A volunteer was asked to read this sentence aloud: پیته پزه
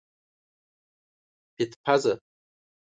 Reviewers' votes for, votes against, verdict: 4, 5, rejected